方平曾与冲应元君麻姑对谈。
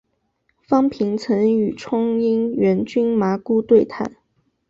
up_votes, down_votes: 4, 0